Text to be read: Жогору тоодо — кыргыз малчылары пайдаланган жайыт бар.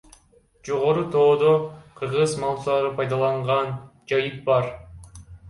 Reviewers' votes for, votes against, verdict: 1, 2, rejected